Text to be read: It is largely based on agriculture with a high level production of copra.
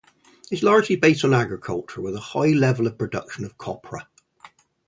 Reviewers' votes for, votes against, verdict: 4, 0, accepted